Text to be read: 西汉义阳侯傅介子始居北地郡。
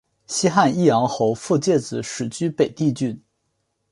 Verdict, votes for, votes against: accepted, 4, 1